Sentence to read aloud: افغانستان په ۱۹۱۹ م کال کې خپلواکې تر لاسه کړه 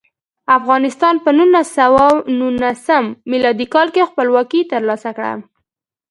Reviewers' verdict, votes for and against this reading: rejected, 0, 2